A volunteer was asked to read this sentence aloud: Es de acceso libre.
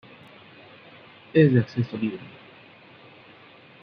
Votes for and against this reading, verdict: 0, 2, rejected